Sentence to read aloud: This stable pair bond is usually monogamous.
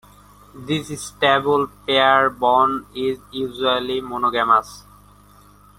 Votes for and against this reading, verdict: 0, 2, rejected